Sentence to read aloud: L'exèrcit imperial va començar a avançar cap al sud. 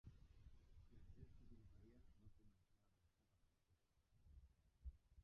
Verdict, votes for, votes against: rejected, 0, 2